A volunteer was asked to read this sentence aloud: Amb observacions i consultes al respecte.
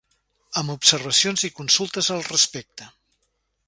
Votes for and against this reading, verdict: 2, 0, accepted